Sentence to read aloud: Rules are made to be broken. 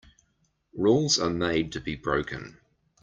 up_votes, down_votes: 2, 0